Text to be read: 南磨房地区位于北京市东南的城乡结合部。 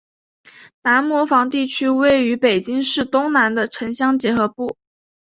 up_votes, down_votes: 3, 0